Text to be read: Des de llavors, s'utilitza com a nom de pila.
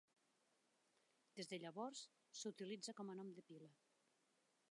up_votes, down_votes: 1, 2